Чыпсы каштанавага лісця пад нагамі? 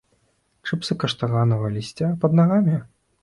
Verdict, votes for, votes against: accepted, 2, 0